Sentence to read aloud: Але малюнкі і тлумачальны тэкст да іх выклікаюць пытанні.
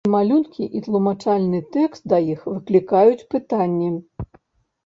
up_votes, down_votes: 1, 2